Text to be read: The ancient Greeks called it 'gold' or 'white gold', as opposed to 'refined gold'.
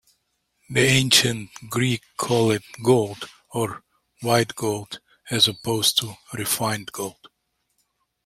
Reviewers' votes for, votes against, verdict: 1, 2, rejected